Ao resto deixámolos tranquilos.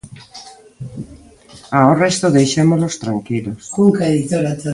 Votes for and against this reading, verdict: 0, 2, rejected